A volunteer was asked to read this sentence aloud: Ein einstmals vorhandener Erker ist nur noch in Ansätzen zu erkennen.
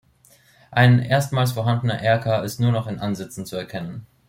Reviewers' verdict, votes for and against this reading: rejected, 1, 2